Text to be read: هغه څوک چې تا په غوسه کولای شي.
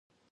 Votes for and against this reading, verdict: 0, 2, rejected